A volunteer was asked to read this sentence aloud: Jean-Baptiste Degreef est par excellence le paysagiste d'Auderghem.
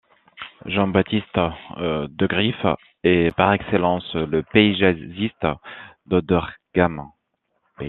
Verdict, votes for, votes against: rejected, 1, 2